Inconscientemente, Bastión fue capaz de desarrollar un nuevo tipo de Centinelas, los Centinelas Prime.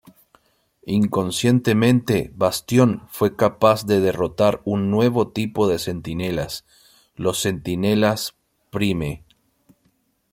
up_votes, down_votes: 0, 2